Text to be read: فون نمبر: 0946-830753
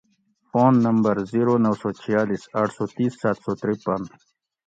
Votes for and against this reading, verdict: 0, 2, rejected